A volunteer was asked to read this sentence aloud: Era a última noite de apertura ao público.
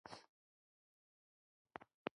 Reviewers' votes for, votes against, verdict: 0, 3, rejected